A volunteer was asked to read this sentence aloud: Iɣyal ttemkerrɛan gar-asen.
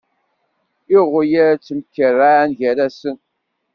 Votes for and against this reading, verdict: 2, 0, accepted